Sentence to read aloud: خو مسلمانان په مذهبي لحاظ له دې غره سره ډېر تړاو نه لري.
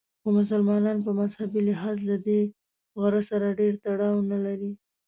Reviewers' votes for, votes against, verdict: 2, 0, accepted